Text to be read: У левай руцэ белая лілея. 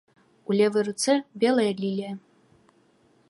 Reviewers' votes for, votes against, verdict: 1, 2, rejected